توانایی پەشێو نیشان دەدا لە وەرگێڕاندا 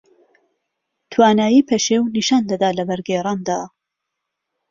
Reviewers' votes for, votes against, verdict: 2, 0, accepted